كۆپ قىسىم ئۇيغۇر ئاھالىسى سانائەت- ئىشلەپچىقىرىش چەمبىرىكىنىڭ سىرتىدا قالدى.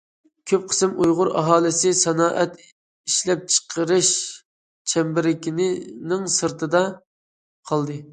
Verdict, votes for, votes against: rejected, 0, 2